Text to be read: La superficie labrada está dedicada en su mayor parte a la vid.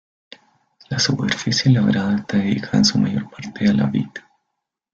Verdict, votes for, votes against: accepted, 2, 0